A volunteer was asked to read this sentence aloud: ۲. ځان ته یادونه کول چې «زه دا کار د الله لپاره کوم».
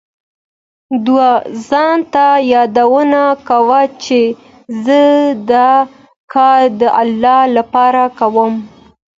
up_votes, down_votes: 0, 2